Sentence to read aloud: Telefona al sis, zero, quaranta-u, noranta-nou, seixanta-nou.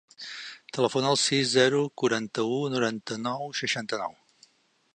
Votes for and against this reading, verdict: 4, 0, accepted